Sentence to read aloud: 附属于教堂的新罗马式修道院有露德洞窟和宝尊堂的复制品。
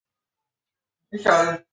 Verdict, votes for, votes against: rejected, 0, 2